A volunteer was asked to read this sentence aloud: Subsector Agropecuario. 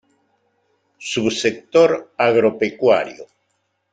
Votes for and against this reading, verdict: 2, 1, accepted